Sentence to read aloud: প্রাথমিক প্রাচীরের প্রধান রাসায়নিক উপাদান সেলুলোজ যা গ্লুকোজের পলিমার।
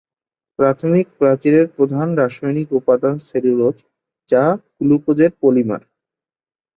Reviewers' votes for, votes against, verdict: 15, 0, accepted